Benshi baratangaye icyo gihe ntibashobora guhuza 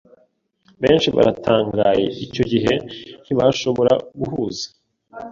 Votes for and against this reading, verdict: 2, 0, accepted